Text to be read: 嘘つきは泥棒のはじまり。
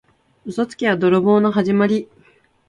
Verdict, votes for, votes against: accepted, 2, 0